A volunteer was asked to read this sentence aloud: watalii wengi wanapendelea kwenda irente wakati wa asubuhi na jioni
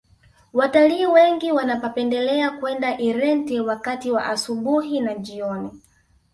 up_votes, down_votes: 2, 1